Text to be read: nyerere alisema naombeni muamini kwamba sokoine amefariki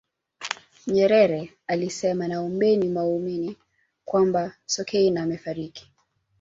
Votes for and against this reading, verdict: 0, 2, rejected